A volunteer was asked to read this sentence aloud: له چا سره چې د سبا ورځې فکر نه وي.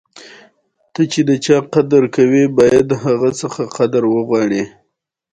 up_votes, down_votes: 2, 1